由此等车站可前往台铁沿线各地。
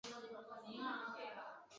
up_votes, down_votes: 0, 4